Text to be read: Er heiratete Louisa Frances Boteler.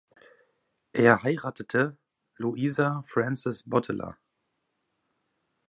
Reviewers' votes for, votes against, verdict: 1, 2, rejected